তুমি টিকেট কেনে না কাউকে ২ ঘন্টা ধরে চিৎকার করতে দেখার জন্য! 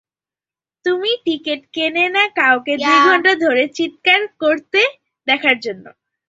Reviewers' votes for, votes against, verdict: 0, 2, rejected